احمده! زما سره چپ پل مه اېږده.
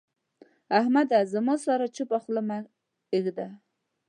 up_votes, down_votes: 0, 2